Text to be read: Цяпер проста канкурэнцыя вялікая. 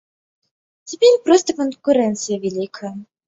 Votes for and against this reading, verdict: 2, 0, accepted